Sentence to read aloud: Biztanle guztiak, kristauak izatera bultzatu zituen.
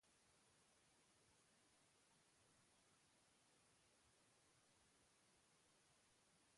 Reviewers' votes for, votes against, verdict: 0, 2, rejected